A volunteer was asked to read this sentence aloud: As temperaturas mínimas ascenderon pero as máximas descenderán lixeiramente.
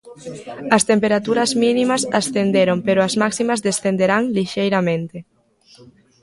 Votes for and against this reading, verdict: 1, 2, rejected